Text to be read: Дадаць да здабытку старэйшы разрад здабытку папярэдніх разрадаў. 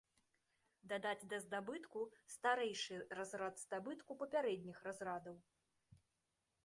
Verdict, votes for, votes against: accepted, 3, 1